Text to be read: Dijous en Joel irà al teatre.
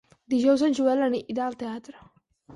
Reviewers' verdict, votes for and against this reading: rejected, 2, 6